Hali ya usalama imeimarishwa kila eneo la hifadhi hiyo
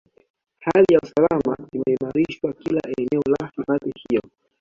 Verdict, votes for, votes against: accepted, 2, 1